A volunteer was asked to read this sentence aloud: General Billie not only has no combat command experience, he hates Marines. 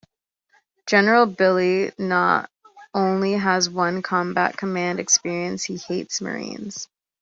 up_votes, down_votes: 0, 2